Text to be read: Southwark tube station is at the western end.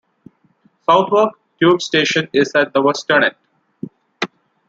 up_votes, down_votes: 2, 0